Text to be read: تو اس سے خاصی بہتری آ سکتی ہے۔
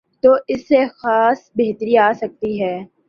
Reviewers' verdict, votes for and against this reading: accepted, 3, 2